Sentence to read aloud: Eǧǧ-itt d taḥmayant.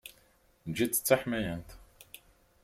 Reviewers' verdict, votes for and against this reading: accepted, 4, 0